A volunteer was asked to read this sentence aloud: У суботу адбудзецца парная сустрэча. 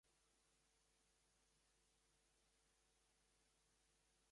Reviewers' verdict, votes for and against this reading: rejected, 1, 2